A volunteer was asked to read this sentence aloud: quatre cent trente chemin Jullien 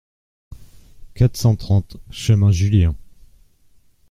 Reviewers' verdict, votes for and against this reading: accepted, 2, 0